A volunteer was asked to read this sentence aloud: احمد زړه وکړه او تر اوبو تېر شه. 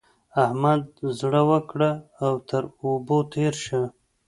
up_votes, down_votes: 2, 0